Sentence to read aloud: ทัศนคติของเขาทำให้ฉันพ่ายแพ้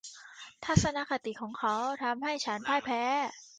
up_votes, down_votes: 2, 1